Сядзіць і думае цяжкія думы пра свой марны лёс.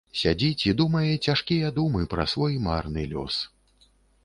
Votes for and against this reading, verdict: 2, 0, accepted